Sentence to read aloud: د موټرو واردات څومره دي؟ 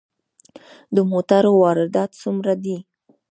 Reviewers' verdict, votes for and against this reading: rejected, 1, 2